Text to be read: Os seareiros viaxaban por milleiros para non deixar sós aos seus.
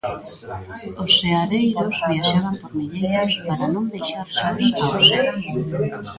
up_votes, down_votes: 1, 2